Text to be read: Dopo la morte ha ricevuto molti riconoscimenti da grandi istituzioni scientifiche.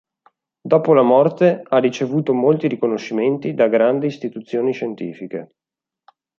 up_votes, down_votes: 2, 0